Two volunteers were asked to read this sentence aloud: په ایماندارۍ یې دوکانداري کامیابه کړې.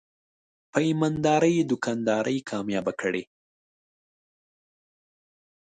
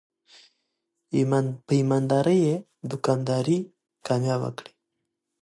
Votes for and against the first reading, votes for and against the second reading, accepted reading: 0, 2, 2, 0, second